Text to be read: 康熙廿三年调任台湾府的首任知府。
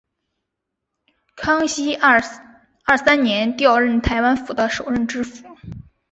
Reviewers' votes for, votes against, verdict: 0, 3, rejected